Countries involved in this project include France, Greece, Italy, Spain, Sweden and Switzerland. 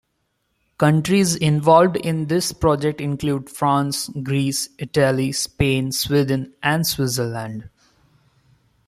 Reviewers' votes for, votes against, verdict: 2, 0, accepted